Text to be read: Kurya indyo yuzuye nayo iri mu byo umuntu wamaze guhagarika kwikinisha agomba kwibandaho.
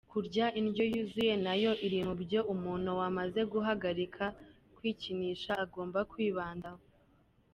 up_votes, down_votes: 2, 0